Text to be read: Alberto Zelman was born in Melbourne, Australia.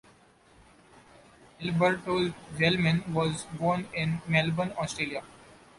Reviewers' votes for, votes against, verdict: 2, 1, accepted